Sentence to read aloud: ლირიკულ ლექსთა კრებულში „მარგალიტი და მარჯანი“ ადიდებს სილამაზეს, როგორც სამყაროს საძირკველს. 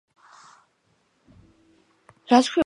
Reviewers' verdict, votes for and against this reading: rejected, 1, 2